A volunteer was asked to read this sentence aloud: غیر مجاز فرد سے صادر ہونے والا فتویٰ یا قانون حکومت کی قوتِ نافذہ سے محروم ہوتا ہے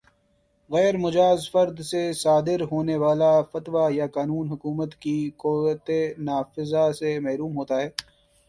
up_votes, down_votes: 6, 1